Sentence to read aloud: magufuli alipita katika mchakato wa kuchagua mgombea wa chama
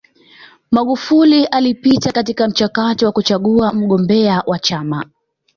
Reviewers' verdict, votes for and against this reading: accepted, 2, 0